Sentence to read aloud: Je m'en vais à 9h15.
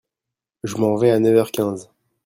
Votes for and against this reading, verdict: 0, 2, rejected